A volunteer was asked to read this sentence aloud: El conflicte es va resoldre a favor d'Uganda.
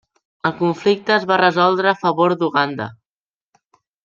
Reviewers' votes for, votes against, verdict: 3, 0, accepted